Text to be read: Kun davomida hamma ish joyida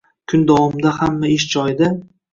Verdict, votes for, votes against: accepted, 2, 1